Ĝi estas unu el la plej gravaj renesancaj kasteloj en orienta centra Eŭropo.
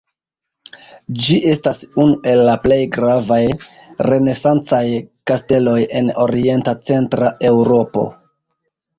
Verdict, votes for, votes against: accepted, 2, 1